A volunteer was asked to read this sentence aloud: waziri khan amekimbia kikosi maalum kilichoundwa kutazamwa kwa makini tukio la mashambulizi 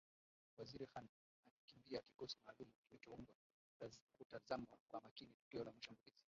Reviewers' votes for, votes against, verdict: 0, 2, rejected